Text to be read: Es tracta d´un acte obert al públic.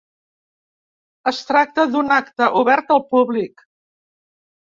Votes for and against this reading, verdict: 3, 0, accepted